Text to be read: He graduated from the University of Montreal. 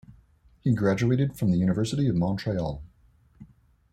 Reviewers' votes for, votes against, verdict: 2, 0, accepted